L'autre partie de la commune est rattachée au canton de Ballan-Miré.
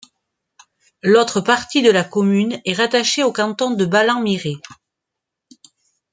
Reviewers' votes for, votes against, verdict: 2, 0, accepted